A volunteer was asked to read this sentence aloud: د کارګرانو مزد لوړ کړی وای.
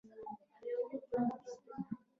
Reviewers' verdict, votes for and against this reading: rejected, 0, 2